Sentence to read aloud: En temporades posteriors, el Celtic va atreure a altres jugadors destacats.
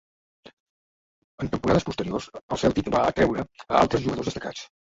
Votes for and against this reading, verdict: 1, 2, rejected